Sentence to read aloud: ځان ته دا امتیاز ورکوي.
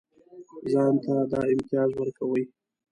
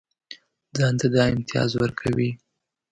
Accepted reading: second